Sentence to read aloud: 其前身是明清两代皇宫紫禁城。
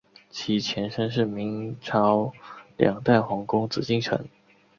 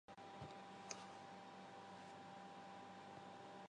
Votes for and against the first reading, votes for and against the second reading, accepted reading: 2, 1, 0, 3, first